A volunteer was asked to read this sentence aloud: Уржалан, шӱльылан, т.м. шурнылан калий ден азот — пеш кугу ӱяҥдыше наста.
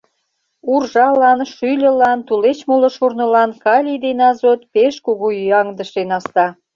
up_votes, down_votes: 0, 2